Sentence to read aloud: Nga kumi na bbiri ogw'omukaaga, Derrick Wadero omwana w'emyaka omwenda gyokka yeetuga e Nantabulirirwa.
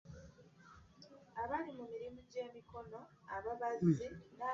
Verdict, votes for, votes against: rejected, 0, 2